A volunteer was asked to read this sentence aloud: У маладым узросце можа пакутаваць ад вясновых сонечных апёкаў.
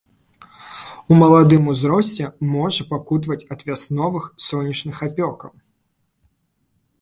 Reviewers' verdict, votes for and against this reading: accepted, 2, 0